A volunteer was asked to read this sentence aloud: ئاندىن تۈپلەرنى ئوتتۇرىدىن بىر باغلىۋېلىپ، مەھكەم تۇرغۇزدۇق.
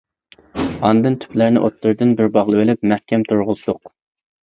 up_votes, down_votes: 2, 0